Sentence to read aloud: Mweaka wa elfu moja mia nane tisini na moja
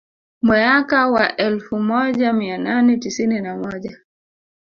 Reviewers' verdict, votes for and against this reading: accepted, 2, 0